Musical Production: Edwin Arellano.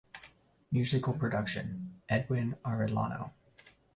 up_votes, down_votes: 2, 0